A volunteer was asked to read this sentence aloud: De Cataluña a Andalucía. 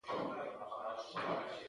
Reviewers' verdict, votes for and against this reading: rejected, 0, 2